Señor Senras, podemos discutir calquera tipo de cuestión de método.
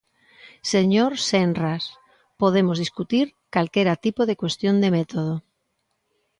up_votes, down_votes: 2, 0